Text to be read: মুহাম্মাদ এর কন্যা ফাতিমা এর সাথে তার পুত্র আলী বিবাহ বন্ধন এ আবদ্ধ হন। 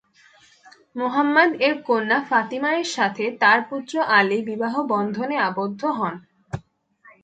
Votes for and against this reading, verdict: 2, 0, accepted